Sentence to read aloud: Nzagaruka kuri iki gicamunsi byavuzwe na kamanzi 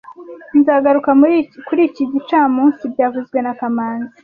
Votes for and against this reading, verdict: 1, 2, rejected